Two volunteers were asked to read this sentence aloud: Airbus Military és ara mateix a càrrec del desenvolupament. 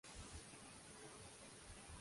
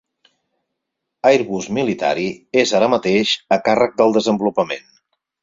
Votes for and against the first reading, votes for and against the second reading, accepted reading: 0, 2, 6, 0, second